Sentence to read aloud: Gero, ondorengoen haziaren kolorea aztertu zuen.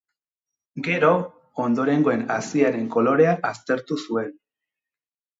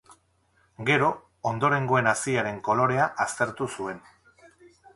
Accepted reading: first